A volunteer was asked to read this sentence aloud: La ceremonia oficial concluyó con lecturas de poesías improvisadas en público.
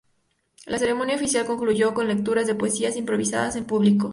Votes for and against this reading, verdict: 0, 2, rejected